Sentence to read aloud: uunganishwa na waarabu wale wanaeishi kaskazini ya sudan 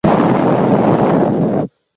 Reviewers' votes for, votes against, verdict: 0, 2, rejected